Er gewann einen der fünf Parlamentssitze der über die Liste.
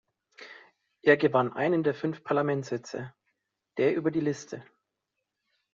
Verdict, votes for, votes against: accepted, 3, 0